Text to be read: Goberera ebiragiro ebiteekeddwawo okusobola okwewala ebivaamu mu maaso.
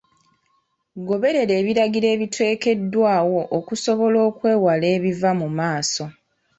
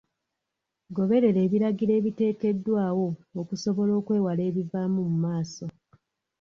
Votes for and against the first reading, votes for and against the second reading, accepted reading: 0, 2, 2, 0, second